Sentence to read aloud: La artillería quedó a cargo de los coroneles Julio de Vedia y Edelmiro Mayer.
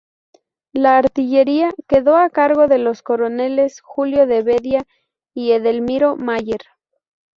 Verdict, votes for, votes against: rejected, 0, 2